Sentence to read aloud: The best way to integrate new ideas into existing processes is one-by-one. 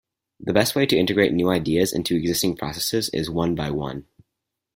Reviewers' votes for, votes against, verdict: 4, 0, accepted